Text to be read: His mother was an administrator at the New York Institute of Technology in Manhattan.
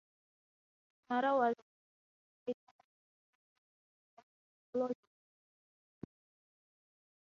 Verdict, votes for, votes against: rejected, 0, 3